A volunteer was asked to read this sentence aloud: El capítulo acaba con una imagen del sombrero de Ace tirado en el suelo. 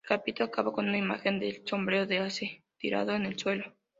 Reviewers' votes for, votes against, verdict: 0, 2, rejected